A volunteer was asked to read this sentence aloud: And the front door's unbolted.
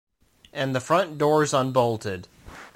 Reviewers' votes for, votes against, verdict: 2, 0, accepted